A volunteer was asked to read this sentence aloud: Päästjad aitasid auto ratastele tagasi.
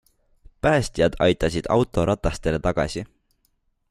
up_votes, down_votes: 2, 0